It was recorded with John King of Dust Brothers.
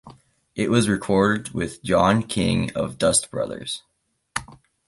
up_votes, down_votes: 2, 0